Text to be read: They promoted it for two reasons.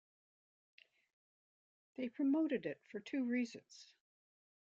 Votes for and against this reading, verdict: 2, 0, accepted